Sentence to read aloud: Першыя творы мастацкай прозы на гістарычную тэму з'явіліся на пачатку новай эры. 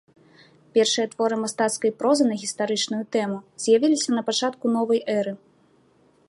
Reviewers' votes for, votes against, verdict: 2, 0, accepted